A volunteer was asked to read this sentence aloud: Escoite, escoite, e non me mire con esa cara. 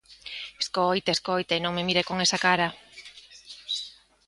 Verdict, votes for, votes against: accepted, 2, 0